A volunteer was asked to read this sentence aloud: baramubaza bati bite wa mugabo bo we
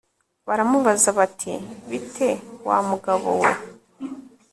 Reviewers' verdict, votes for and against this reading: accepted, 2, 0